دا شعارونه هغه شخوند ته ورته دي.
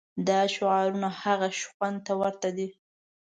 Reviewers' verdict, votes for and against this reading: rejected, 1, 2